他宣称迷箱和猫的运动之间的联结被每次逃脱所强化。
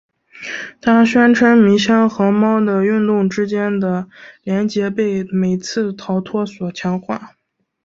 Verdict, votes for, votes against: accepted, 2, 1